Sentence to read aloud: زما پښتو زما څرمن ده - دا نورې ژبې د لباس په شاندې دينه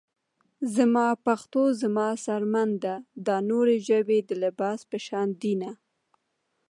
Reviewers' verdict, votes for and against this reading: rejected, 0, 2